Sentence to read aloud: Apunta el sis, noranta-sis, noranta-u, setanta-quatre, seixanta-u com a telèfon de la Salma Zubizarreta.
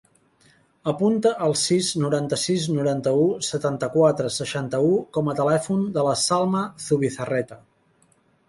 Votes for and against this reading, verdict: 2, 0, accepted